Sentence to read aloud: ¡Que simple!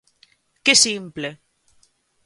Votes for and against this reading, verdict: 2, 0, accepted